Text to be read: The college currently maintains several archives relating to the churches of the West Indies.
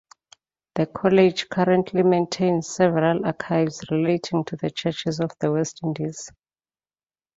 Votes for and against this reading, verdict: 2, 0, accepted